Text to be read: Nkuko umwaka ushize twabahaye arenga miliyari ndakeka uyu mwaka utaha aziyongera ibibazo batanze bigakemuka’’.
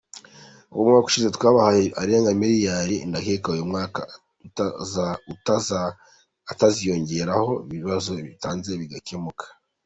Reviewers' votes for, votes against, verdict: 0, 2, rejected